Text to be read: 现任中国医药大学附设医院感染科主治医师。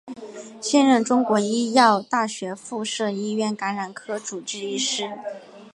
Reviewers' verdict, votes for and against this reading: accepted, 3, 0